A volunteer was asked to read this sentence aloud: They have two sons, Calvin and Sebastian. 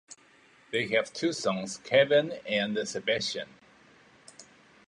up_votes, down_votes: 1, 2